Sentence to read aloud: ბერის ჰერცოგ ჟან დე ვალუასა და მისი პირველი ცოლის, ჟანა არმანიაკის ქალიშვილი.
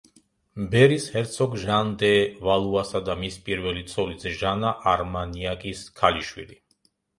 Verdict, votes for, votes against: rejected, 1, 2